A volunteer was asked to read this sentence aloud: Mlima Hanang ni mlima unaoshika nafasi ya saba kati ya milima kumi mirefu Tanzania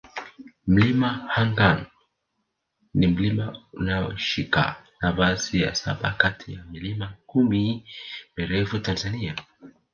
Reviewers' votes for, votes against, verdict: 0, 3, rejected